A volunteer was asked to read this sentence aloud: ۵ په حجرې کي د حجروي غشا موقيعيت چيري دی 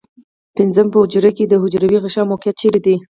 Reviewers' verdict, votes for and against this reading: rejected, 0, 2